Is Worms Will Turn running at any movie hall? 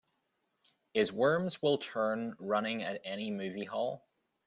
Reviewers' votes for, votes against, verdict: 2, 0, accepted